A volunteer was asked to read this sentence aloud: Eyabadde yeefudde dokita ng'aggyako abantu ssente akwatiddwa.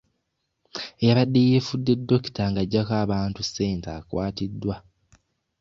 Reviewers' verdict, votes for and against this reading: accepted, 2, 0